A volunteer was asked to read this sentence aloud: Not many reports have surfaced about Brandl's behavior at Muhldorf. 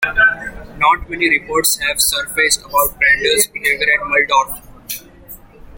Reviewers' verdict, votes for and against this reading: rejected, 0, 2